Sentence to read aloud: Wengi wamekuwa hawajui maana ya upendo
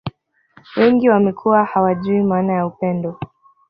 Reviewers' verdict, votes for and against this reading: rejected, 1, 2